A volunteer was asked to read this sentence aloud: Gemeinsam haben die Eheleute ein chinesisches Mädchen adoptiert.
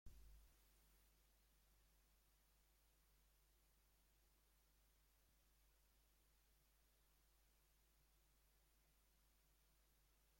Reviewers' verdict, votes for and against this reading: rejected, 0, 2